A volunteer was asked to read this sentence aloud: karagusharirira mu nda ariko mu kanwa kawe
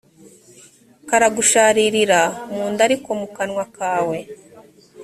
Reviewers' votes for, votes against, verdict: 3, 0, accepted